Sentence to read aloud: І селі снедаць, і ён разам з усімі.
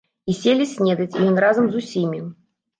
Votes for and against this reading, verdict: 0, 2, rejected